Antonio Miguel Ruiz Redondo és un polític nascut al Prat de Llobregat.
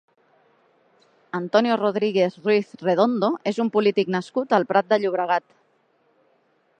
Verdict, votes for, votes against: rejected, 0, 2